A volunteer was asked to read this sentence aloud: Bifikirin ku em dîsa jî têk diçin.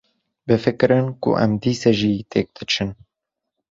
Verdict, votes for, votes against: accepted, 2, 0